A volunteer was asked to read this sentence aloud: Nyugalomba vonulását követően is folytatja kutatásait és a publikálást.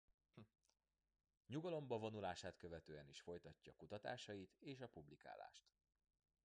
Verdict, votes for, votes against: rejected, 1, 2